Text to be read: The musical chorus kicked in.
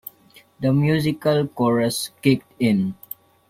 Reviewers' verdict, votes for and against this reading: accepted, 2, 0